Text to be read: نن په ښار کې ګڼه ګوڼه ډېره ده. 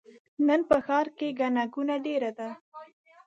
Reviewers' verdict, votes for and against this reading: rejected, 1, 2